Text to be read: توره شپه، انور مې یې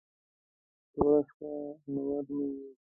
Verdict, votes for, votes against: rejected, 0, 2